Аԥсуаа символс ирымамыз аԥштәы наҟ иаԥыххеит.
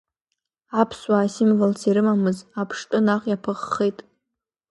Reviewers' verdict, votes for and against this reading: rejected, 1, 2